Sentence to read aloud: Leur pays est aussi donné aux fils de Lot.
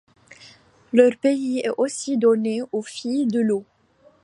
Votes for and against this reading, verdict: 1, 2, rejected